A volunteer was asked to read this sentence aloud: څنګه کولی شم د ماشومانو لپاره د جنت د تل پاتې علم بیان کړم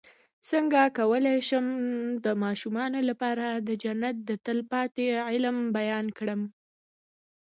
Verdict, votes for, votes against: rejected, 1, 2